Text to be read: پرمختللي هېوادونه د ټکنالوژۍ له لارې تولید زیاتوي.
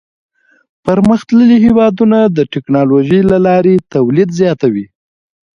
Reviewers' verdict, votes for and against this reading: accepted, 2, 1